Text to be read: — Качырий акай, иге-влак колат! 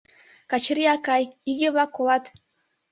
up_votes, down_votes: 2, 0